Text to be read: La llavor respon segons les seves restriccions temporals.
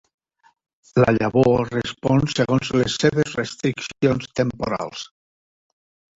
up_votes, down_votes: 1, 2